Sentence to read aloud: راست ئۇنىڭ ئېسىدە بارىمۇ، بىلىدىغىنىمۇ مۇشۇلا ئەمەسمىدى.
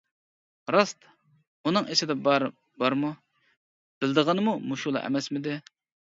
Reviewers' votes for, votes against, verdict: 0, 2, rejected